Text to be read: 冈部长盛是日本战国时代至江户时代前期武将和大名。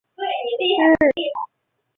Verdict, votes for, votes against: rejected, 0, 6